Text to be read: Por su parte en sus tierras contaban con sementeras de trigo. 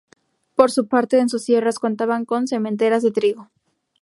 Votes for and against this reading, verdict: 2, 0, accepted